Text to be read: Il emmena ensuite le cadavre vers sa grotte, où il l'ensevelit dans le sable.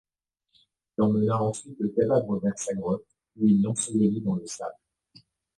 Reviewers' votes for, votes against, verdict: 1, 2, rejected